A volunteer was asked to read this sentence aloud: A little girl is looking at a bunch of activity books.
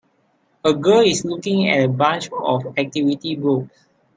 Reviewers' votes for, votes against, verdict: 0, 4, rejected